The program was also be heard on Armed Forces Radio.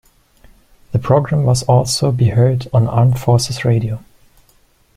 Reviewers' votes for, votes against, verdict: 2, 1, accepted